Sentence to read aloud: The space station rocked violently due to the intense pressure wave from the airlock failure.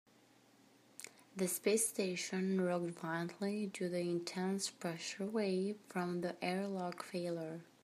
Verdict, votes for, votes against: rejected, 0, 2